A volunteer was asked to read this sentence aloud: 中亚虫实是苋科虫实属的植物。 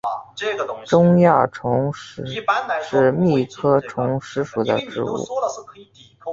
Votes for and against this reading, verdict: 0, 2, rejected